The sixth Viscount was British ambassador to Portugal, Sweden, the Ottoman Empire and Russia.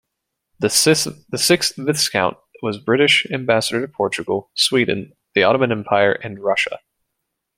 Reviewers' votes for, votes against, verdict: 1, 2, rejected